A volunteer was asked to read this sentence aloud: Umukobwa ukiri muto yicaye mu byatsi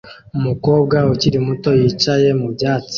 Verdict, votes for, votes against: accepted, 2, 0